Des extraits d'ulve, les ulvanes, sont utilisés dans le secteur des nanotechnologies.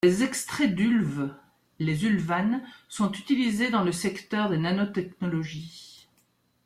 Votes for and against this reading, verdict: 3, 2, accepted